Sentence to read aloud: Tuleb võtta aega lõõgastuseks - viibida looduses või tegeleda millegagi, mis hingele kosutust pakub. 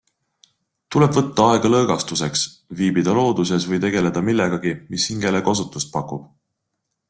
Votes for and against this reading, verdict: 2, 0, accepted